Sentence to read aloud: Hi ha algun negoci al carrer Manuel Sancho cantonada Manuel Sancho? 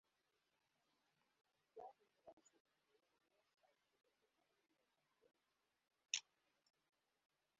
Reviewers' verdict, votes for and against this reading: rejected, 0, 2